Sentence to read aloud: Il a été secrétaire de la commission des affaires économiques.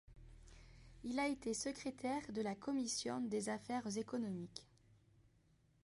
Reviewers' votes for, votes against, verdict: 1, 2, rejected